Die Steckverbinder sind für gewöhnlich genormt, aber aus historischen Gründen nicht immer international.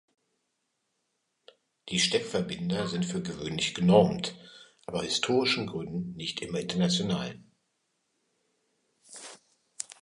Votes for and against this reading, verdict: 1, 3, rejected